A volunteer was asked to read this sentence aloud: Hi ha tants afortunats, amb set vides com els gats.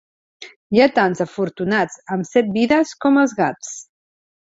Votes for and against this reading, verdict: 2, 0, accepted